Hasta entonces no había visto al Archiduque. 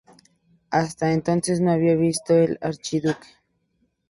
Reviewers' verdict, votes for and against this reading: accepted, 4, 2